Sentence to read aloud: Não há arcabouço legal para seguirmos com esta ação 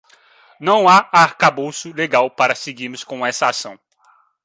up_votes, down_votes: 1, 2